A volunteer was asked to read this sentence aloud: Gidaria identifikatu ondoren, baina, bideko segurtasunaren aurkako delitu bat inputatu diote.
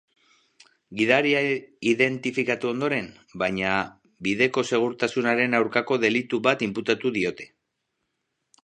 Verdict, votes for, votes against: accepted, 2, 0